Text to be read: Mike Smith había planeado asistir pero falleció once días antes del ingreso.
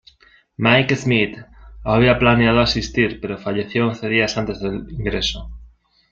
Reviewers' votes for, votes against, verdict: 2, 0, accepted